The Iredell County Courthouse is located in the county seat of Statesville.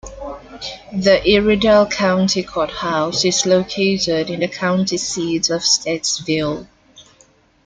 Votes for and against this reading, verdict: 1, 2, rejected